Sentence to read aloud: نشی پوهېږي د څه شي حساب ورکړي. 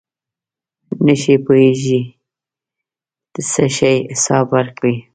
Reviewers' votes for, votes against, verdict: 2, 1, accepted